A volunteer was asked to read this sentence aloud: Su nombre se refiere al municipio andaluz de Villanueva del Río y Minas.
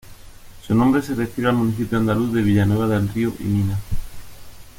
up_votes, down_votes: 0, 2